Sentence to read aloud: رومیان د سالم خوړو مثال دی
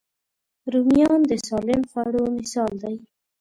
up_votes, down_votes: 2, 0